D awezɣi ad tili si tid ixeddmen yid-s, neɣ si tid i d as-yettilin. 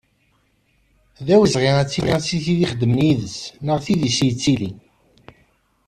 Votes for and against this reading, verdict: 1, 2, rejected